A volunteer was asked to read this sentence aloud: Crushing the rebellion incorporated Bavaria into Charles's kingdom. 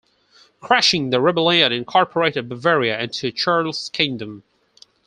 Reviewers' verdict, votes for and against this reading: rejected, 0, 4